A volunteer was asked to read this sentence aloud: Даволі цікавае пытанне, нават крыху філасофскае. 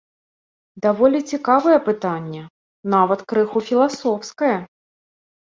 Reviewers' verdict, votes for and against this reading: accepted, 2, 0